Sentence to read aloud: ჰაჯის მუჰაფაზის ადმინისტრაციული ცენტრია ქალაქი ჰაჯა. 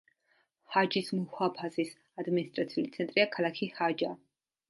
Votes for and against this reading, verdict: 2, 1, accepted